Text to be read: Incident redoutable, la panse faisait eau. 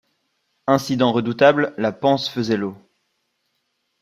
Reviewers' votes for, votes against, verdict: 1, 2, rejected